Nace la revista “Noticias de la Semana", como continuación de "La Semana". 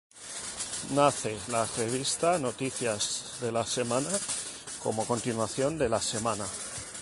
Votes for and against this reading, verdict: 4, 0, accepted